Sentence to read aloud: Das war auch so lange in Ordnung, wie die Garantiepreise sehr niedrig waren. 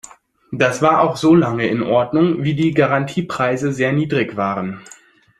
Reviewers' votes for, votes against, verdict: 2, 0, accepted